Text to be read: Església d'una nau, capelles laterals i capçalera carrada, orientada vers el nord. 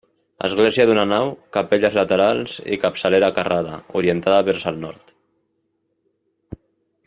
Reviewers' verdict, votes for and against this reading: accepted, 2, 0